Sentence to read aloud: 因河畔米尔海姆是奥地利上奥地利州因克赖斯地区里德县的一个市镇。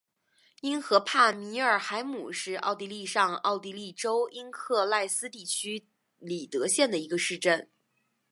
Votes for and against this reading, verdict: 3, 0, accepted